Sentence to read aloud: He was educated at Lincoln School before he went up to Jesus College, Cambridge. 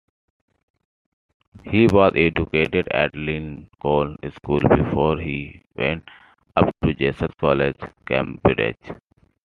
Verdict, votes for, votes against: rejected, 0, 2